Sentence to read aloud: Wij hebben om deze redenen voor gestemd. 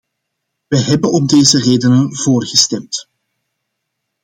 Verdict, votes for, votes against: accepted, 2, 0